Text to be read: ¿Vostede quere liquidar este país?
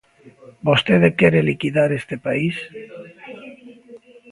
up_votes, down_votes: 2, 0